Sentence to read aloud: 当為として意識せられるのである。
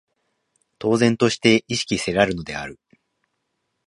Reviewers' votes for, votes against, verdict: 1, 2, rejected